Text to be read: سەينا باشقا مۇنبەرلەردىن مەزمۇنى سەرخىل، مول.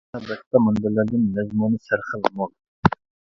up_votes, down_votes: 0, 2